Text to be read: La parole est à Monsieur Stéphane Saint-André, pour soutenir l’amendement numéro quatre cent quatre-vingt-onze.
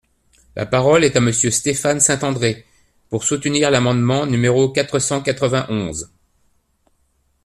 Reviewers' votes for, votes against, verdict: 2, 0, accepted